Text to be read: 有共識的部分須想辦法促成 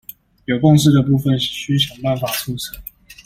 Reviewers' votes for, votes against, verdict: 0, 2, rejected